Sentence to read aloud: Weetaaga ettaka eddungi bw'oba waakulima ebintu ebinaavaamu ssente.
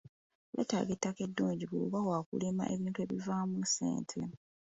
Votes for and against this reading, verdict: 2, 0, accepted